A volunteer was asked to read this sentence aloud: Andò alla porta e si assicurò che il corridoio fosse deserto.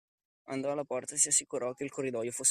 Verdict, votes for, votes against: rejected, 0, 2